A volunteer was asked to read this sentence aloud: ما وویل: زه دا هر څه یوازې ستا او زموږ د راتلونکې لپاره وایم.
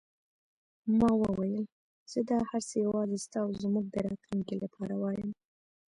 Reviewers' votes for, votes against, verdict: 1, 2, rejected